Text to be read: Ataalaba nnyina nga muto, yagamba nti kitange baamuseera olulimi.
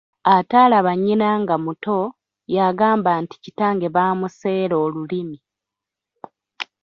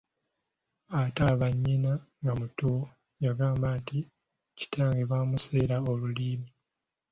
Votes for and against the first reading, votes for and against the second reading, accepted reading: 2, 0, 1, 2, first